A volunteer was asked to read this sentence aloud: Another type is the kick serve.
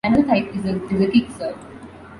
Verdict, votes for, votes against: rejected, 0, 2